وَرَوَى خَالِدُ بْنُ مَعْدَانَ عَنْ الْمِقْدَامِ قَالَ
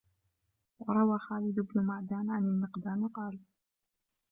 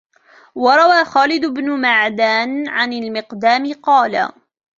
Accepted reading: second